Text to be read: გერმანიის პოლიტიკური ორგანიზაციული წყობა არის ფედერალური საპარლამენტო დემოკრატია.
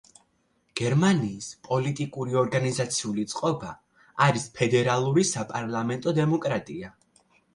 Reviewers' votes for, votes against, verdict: 3, 0, accepted